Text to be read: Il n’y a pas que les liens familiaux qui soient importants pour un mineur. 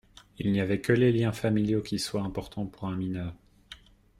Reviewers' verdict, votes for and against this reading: rejected, 0, 2